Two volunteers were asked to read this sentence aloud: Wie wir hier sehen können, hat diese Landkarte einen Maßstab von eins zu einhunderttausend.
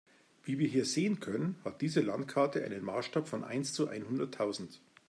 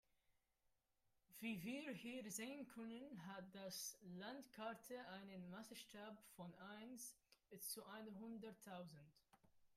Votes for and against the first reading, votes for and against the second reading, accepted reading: 2, 0, 0, 2, first